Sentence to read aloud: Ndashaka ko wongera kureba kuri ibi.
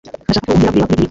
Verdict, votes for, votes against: rejected, 0, 2